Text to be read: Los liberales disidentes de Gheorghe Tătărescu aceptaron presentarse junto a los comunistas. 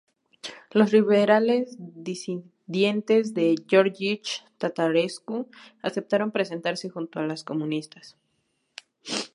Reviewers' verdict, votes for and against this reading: rejected, 0, 2